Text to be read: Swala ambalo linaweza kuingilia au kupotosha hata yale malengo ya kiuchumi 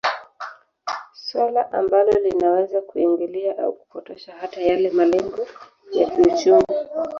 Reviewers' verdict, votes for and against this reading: rejected, 1, 2